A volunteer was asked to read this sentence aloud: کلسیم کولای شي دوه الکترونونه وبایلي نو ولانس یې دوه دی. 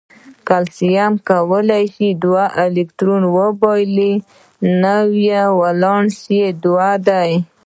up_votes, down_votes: 2, 3